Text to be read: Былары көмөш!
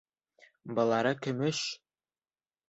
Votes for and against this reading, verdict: 0, 2, rejected